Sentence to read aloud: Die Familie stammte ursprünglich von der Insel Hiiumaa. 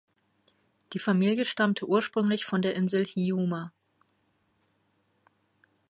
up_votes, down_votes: 0, 2